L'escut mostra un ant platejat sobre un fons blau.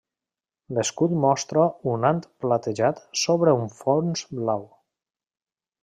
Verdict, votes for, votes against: accepted, 3, 0